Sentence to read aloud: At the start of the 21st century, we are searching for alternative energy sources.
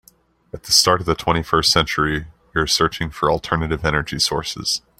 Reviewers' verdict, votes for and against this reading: rejected, 0, 2